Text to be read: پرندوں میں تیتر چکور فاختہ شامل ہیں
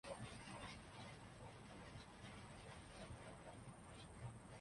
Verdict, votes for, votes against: rejected, 0, 3